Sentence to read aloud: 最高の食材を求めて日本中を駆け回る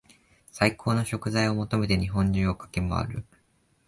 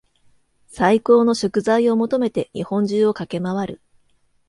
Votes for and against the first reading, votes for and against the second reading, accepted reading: 1, 2, 2, 0, second